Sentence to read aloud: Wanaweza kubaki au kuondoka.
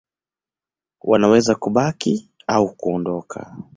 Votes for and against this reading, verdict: 2, 0, accepted